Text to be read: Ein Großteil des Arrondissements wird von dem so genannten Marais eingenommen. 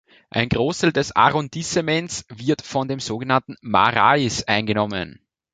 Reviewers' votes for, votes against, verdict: 1, 2, rejected